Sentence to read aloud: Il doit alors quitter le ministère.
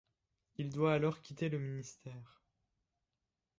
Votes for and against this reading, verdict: 1, 2, rejected